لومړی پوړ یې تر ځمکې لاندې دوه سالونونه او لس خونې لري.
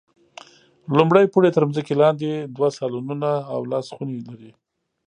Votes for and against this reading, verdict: 1, 2, rejected